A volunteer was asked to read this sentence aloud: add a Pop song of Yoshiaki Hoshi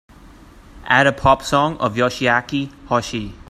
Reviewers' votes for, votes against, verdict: 2, 0, accepted